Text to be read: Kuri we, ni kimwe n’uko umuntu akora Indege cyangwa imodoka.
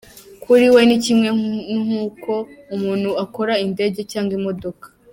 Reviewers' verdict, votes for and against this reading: rejected, 1, 2